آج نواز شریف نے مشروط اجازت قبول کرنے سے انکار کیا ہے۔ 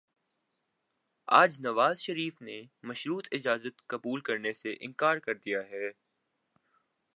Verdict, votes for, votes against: rejected, 1, 2